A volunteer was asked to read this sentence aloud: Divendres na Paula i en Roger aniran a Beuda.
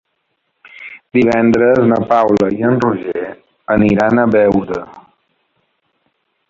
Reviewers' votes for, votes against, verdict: 0, 2, rejected